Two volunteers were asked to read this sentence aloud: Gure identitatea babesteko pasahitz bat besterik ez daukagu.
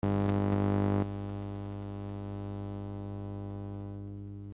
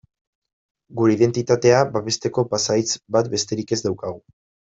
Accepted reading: second